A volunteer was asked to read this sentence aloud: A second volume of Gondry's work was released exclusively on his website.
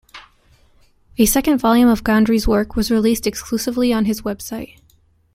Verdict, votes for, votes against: accepted, 2, 0